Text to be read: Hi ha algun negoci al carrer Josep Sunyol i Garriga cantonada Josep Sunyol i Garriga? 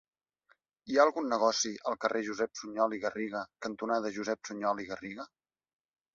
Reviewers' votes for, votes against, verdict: 2, 0, accepted